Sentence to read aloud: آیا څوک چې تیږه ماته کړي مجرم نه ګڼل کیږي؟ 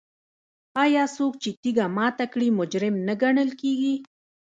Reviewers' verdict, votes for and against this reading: rejected, 0, 2